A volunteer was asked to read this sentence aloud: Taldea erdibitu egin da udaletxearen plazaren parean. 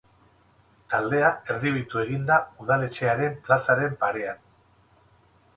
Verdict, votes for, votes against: accepted, 4, 0